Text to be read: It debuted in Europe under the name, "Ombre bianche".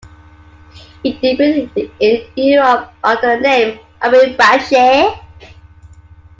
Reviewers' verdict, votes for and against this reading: accepted, 2, 1